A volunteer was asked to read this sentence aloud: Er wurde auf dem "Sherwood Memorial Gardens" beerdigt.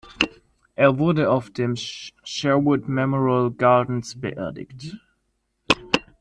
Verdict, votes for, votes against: rejected, 1, 3